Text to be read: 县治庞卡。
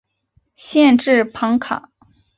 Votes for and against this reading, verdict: 2, 0, accepted